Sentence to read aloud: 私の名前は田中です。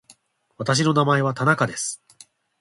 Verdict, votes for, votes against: accepted, 3, 0